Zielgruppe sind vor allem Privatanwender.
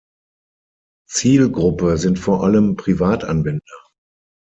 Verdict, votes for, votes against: accepted, 6, 0